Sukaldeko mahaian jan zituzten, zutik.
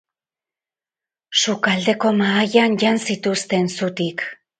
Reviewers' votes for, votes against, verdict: 4, 0, accepted